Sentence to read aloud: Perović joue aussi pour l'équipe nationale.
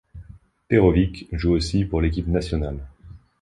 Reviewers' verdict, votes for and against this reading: accepted, 2, 0